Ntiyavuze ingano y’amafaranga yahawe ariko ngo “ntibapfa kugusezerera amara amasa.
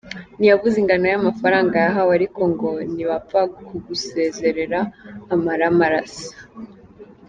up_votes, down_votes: 0, 3